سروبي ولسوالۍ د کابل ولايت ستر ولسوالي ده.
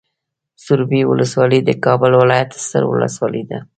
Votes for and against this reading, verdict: 2, 0, accepted